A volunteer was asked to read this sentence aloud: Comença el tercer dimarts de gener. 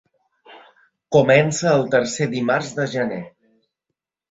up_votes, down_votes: 2, 0